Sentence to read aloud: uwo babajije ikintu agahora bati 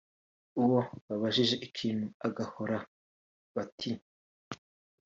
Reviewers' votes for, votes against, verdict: 2, 0, accepted